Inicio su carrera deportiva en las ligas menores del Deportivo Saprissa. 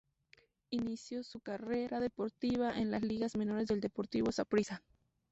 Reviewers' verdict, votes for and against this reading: rejected, 0, 2